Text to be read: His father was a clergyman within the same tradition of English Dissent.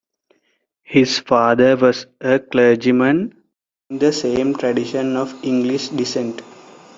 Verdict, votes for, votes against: rejected, 0, 2